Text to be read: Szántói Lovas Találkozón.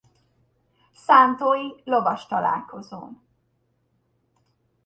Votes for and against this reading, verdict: 2, 1, accepted